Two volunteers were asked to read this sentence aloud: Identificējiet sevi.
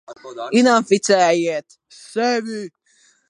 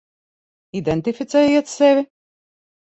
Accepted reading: second